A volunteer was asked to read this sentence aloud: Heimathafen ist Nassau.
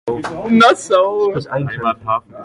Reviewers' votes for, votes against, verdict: 0, 2, rejected